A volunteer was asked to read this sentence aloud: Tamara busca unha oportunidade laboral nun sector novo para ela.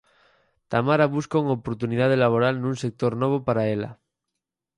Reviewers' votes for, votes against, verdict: 4, 0, accepted